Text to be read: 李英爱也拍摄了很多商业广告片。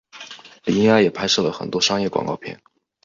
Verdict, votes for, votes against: accepted, 3, 0